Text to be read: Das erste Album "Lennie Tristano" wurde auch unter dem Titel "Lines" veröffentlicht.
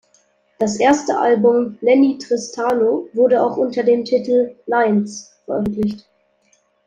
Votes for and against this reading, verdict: 2, 0, accepted